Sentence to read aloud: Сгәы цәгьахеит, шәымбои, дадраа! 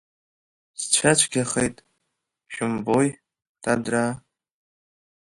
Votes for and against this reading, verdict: 0, 2, rejected